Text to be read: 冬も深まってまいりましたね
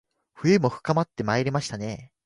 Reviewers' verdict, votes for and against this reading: accepted, 2, 0